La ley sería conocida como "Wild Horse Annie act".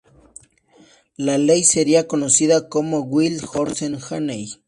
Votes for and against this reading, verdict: 0, 2, rejected